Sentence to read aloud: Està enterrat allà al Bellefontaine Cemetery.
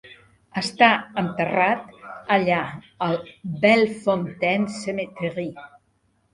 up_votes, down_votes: 2, 1